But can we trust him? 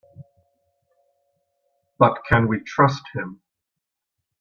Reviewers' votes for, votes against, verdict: 3, 0, accepted